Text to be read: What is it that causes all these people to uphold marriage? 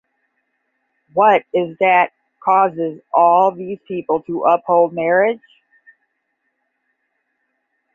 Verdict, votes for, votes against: accepted, 10, 5